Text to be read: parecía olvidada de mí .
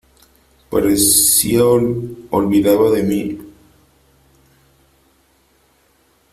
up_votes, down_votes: 0, 3